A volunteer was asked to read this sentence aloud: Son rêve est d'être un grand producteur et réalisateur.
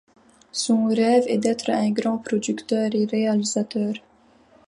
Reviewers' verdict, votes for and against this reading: accepted, 2, 0